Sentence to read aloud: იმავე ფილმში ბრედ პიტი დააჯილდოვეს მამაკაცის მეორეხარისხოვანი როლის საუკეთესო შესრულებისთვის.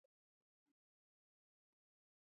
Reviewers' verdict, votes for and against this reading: accepted, 2, 0